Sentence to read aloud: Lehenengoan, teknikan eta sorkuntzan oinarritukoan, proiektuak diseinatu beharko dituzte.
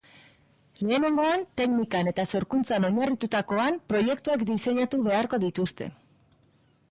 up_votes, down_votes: 2, 1